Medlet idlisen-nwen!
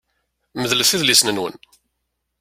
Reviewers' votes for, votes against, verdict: 2, 0, accepted